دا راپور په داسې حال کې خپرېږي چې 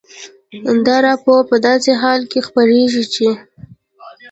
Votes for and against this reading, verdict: 2, 0, accepted